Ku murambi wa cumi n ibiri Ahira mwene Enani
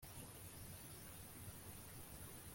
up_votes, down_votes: 1, 2